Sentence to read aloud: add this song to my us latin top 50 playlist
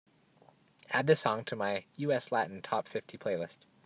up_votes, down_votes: 0, 2